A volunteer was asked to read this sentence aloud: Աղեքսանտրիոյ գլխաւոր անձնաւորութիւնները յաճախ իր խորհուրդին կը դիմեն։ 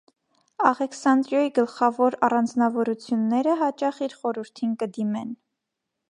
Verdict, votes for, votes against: rejected, 1, 2